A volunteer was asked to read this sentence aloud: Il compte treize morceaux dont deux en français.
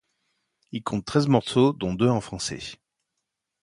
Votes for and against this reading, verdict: 2, 0, accepted